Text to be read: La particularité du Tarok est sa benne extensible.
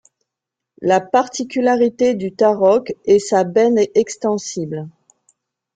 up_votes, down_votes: 2, 0